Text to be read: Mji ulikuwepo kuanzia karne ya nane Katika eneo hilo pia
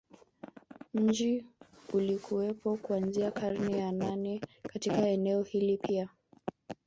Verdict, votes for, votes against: rejected, 1, 2